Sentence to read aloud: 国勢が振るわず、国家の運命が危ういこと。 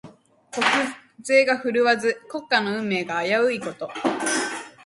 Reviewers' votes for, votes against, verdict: 2, 0, accepted